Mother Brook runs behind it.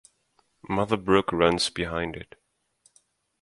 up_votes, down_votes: 2, 0